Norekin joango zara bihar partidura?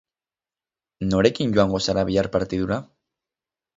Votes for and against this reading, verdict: 6, 0, accepted